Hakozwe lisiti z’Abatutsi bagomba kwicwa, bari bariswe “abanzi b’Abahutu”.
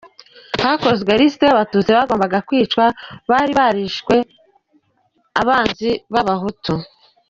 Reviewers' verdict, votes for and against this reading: rejected, 0, 2